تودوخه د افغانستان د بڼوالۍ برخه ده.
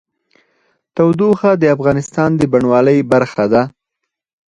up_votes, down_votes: 0, 4